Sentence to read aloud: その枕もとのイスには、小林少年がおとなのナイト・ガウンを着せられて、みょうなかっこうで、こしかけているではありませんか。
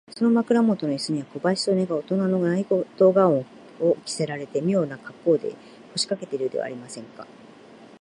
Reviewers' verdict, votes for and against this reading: rejected, 1, 2